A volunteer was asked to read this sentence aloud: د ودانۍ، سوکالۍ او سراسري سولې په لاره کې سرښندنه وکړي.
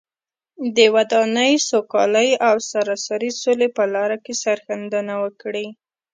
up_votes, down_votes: 3, 0